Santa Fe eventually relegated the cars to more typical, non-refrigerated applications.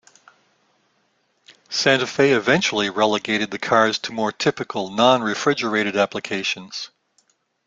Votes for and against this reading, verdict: 2, 0, accepted